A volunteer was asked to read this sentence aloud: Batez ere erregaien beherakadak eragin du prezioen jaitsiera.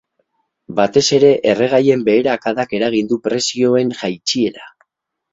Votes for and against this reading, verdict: 2, 0, accepted